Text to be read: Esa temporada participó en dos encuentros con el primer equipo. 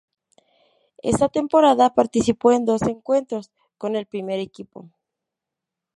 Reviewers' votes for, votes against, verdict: 2, 0, accepted